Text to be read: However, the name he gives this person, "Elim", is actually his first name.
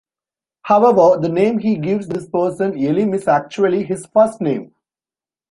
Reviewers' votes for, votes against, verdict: 2, 0, accepted